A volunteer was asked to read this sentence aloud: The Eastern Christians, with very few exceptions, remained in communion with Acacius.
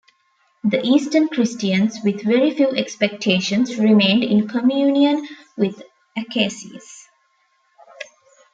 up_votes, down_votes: 0, 2